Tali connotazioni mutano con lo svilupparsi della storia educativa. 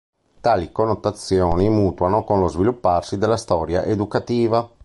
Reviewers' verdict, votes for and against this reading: rejected, 1, 2